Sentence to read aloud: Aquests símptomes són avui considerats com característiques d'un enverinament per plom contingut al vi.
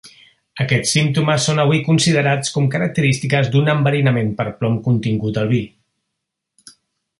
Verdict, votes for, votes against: accepted, 3, 0